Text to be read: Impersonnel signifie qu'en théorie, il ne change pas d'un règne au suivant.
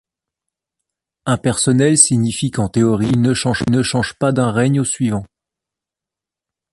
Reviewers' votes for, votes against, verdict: 1, 2, rejected